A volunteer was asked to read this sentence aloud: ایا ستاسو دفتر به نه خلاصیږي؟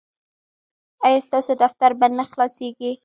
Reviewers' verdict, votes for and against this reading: rejected, 1, 2